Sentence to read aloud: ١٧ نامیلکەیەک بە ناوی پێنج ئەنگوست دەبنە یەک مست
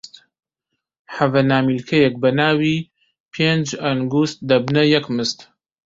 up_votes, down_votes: 0, 2